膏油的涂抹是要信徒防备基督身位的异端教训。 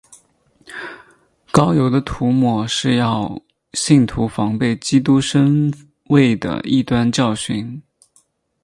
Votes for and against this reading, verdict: 2, 0, accepted